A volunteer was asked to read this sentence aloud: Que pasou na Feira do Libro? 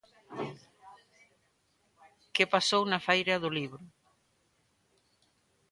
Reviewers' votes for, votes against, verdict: 2, 0, accepted